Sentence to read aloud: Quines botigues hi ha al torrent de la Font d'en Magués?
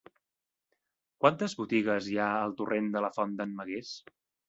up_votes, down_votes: 0, 2